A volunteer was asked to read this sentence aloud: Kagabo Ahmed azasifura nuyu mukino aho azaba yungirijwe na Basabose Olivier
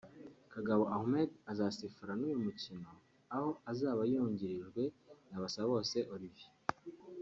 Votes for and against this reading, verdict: 2, 0, accepted